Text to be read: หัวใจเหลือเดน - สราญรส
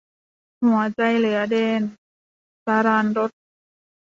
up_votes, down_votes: 2, 0